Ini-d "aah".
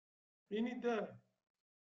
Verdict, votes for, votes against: accepted, 2, 1